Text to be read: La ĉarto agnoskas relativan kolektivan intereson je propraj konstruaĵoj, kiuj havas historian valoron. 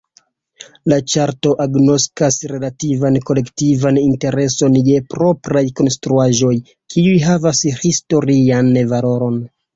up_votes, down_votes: 0, 2